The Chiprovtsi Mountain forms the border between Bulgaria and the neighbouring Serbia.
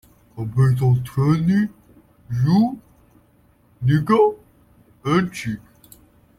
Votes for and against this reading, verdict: 0, 2, rejected